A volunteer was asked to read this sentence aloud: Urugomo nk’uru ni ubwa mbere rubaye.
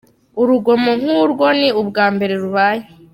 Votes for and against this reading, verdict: 2, 1, accepted